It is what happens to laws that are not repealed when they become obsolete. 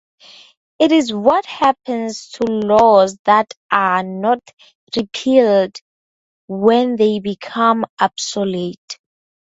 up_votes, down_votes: 2, 0